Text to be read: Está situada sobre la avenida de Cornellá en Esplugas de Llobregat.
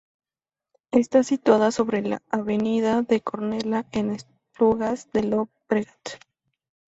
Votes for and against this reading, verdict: 0, 2, rejected